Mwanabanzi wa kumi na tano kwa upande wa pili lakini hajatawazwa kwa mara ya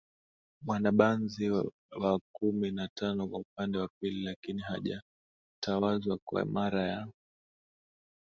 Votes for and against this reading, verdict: 2, 4, rejected